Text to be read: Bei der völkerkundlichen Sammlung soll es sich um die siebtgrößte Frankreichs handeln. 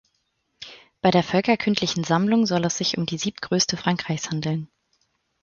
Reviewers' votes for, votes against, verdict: 2, 4, rejected